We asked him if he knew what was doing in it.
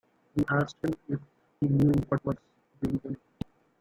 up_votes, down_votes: 0, 2